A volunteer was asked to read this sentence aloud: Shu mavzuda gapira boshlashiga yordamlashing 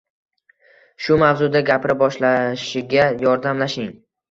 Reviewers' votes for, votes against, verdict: 2, 0, accepted